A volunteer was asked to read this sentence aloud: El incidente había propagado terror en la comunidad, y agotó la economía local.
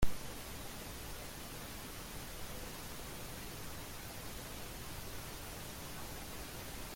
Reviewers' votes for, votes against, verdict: 0, 2, rejected